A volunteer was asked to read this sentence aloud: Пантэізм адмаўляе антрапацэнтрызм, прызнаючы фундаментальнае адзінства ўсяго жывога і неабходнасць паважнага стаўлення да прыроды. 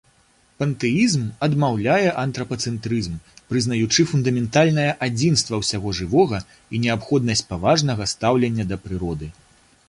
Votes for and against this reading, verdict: 2, 0, accepted